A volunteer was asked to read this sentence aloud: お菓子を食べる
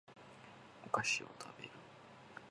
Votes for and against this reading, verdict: 2, 0, accepted